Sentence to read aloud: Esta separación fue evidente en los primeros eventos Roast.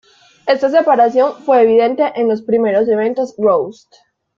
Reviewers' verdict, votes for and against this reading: accepted, 2, 0